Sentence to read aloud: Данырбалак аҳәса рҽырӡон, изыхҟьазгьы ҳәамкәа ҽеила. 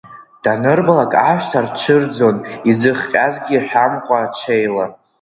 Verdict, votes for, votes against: accepted, 2, 0